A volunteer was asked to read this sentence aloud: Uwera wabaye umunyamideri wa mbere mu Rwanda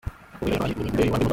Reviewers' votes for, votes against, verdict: 0, 2, rejected